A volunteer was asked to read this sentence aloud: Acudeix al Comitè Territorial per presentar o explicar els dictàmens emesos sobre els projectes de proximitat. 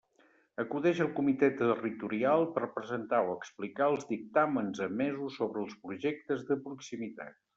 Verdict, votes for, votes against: rejected, 1, 2